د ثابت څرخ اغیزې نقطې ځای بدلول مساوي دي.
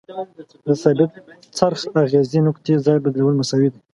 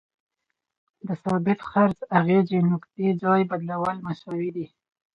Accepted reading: second